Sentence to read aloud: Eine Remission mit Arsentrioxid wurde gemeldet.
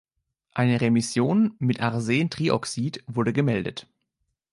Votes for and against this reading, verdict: 2, 0, accepted